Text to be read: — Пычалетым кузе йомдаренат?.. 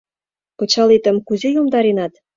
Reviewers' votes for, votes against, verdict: 1, 2, rejected